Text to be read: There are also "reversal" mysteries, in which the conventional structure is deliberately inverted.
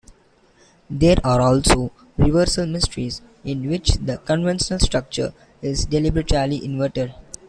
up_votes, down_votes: 0, 2